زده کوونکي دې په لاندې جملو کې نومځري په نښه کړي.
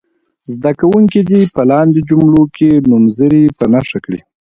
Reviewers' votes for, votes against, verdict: 2, 0, accepted